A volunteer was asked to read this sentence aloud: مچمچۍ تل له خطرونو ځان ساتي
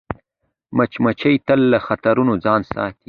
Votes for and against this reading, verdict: 2, 0, accepted